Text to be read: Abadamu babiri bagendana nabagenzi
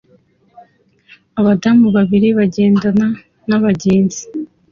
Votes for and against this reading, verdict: 2, 0, accepted